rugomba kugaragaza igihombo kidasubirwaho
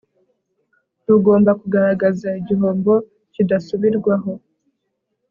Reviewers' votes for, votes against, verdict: 3, 0, accepted